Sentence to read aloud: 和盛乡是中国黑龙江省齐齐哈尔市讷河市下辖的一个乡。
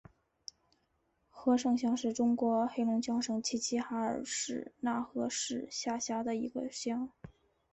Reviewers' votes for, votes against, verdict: 3, 0, accepted